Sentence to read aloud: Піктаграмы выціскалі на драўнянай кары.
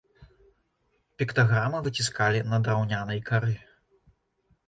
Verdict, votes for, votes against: accepted, 2, 0